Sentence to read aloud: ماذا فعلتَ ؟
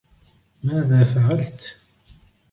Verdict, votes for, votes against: accepted, 2, 1